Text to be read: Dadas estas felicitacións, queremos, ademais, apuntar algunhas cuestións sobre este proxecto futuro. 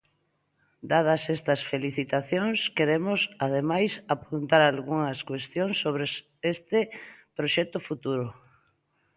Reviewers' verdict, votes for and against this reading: accepted, 2, 0